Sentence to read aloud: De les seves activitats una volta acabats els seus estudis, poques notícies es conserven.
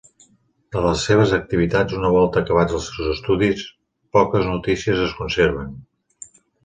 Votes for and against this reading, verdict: 0, 2, rejected